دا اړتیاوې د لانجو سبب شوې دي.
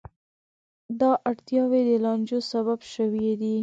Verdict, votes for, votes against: accepted, 2, 0